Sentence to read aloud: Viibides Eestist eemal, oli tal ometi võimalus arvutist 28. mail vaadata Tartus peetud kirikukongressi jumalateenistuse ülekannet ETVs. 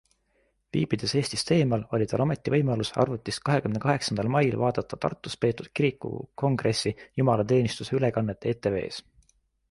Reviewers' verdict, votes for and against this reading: rejected, 0, 2